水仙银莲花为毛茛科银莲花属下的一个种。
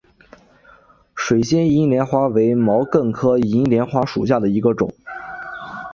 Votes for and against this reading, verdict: 2, 0, accepted